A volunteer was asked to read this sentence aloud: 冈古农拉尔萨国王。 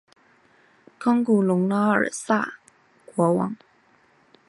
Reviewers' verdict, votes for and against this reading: accepted, 4, 1